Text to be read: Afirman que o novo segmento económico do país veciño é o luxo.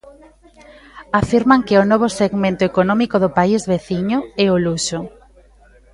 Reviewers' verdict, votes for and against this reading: rejected, 1, 2